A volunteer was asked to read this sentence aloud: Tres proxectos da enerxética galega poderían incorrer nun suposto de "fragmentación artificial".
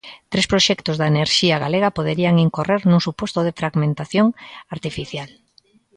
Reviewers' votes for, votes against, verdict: 0, 2, rejected